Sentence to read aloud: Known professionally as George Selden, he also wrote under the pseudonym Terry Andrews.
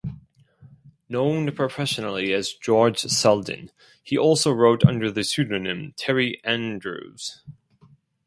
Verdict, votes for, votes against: accepted, 4, 0